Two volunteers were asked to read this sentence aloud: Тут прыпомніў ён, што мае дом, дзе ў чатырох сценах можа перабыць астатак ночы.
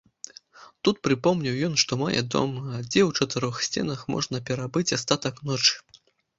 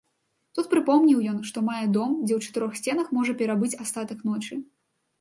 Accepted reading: second